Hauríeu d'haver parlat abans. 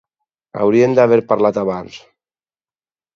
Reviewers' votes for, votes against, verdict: 4, 2, accepted